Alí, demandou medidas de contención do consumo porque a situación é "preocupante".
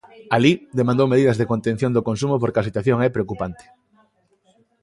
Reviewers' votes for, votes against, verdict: 2, 0, accepted